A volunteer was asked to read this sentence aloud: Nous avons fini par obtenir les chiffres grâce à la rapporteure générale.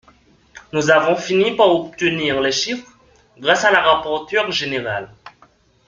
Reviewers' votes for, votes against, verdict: 2, 1, accepted